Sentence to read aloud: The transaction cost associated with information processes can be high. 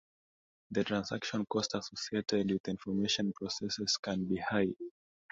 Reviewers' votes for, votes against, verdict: 2, 0, accepted